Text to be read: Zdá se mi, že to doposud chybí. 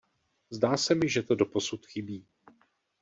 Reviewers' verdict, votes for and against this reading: accepted, 2, 0